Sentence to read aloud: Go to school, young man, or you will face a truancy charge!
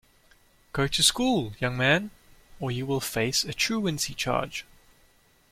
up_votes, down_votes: 2, 0